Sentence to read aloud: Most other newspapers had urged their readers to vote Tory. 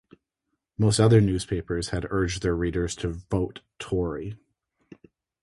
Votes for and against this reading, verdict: 4, 0, accepted